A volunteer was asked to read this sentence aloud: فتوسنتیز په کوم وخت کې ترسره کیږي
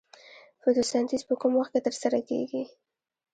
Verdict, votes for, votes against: rejected, 1, 2